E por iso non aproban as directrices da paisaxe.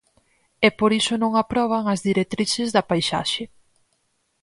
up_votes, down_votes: 4, 0